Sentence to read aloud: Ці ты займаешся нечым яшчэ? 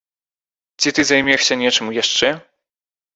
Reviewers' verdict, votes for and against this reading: rejected, 1, 2